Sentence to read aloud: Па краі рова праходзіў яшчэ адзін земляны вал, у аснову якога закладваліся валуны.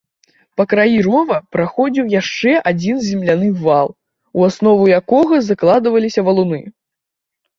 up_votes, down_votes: 2, 0